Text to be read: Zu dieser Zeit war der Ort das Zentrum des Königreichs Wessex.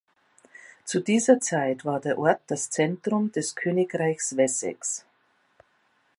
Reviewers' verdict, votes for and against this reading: accepted, 3, 0